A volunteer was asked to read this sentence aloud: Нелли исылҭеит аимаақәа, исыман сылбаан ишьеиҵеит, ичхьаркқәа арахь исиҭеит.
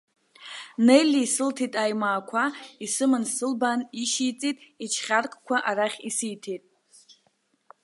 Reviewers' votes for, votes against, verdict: 0, 2, rejected